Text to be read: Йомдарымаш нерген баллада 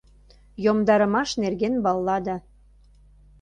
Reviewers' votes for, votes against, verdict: 2, 0, accepted